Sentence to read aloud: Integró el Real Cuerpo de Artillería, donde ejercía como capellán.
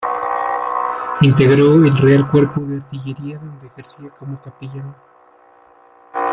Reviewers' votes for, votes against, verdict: 1, 2, rejected